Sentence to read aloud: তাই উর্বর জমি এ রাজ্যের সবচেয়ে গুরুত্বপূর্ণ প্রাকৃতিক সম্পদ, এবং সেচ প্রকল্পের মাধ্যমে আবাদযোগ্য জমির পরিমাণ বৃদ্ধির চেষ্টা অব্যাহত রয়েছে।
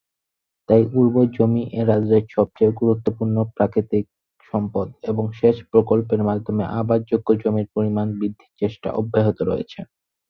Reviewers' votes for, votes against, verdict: 4, 0, accepted